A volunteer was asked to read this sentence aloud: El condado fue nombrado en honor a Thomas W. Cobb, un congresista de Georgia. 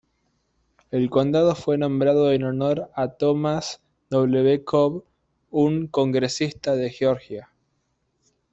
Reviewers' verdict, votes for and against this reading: accepted, 2, 1